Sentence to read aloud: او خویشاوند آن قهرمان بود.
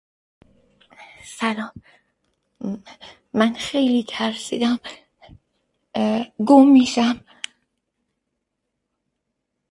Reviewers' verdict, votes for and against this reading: rejected, 0, 2